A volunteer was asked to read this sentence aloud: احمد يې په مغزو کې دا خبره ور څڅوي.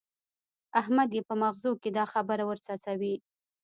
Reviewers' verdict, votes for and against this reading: rejected, 1, 2